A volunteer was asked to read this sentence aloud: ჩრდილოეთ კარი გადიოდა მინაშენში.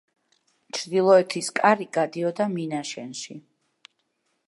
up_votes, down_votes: 0, 2